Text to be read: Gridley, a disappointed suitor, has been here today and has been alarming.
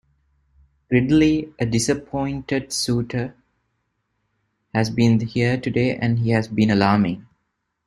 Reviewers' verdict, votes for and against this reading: accepted, 2, 1